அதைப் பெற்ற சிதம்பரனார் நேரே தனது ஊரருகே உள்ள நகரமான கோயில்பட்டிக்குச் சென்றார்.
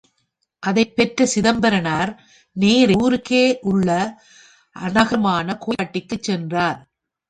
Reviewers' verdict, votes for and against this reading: rejected, 1, 3